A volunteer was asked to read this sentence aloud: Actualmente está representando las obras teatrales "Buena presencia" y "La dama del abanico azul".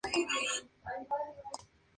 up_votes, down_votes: 0, 2